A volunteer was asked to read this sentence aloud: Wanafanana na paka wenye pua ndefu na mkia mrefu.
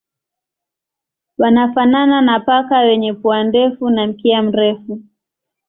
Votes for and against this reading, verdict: 3, 0, accepted